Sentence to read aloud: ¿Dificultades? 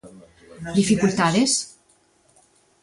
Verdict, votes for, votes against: accepted, 3, 0